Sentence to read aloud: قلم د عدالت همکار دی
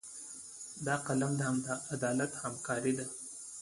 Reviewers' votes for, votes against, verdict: 2, 0, accepted